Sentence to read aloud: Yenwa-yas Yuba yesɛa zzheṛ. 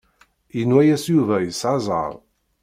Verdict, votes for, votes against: accepted, 2, 0